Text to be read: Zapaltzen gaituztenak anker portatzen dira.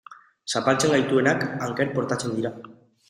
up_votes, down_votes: 0, 2